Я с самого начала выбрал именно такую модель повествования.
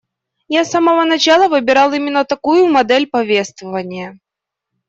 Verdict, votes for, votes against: rejected, 1, 2